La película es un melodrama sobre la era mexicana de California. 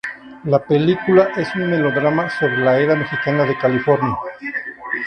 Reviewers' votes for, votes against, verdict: 2, 0, accepted